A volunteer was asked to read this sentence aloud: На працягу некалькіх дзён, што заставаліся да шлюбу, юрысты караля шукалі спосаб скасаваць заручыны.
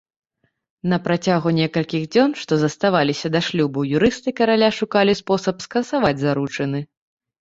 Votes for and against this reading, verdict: 3, 0, accepted